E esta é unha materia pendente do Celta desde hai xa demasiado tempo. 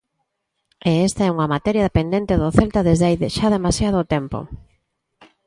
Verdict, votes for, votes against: rejected, 0, 2